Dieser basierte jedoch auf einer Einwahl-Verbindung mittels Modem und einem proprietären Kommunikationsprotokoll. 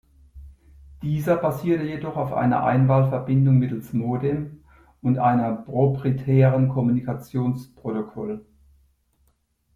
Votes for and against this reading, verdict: 1, 2, rejected